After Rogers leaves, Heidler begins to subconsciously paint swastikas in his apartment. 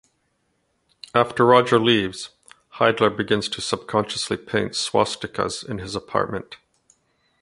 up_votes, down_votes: 1, 2